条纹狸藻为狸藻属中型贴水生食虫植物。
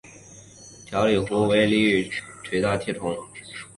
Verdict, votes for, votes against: rejected, 1, 2